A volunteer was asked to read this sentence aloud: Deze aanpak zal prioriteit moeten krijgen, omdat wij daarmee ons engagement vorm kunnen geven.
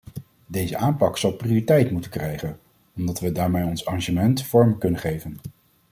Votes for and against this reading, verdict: 2, 0, accepted